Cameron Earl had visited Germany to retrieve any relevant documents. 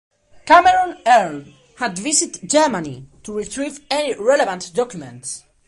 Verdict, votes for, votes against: accepted, 2, 0